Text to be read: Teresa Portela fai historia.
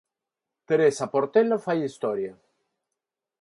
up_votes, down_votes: 4, 0